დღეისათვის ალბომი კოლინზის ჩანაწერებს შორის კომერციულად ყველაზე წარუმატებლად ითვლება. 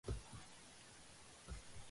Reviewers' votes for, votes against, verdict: 1, 2, rejected